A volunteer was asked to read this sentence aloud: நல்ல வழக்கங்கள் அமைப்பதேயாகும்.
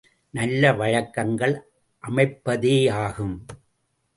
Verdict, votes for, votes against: accepted, 2, 0